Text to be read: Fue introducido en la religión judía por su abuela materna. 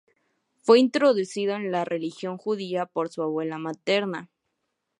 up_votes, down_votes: 2, 0